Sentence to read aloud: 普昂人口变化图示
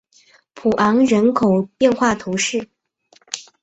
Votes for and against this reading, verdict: 2, 0, accepted